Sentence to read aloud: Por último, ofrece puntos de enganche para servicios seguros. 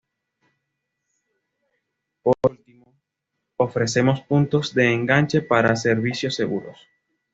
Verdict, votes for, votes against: accepted, 2, 0